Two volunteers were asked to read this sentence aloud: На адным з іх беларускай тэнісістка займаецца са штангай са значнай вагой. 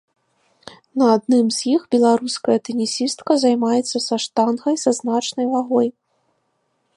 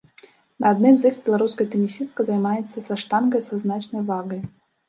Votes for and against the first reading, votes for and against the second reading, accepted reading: 2, 0, 0, 2, first